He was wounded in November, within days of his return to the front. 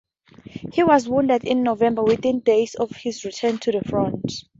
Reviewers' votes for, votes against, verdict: 2, 0, accepted